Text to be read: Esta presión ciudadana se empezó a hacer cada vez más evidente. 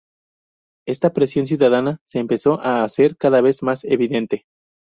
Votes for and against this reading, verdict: 2, 0, accepted